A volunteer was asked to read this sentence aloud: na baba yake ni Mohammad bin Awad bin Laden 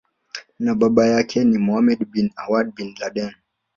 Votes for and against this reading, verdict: 1, 2, rejected